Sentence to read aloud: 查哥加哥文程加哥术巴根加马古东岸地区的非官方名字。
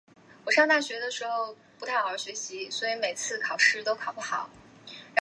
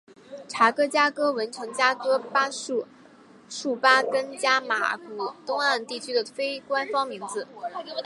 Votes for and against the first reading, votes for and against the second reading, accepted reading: 0, 2, 3, 0, second